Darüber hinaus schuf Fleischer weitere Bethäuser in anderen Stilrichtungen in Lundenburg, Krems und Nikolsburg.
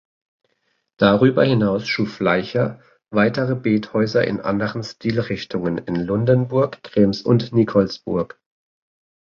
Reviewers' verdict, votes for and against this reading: rejected, 2, 3